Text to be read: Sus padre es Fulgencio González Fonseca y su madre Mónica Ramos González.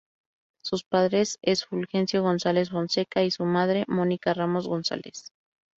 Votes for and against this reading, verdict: 2, 0, accepted